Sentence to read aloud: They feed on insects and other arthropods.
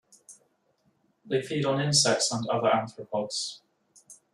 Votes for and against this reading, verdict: 1, 2, rejected